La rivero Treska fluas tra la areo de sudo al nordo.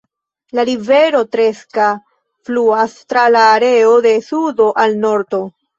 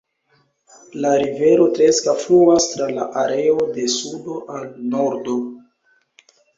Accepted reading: first